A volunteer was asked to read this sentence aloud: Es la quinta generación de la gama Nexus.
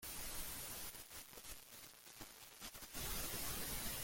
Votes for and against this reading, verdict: 0, 2, rejected